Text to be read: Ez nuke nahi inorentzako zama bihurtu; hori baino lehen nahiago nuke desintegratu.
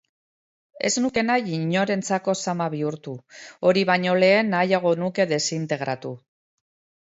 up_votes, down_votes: 2, 0